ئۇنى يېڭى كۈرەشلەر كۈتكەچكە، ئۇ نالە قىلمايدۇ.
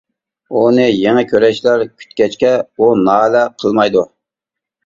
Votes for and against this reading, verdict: 2, 0, accepted